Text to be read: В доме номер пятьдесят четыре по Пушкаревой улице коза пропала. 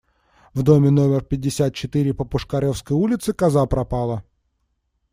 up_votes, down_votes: 1, 2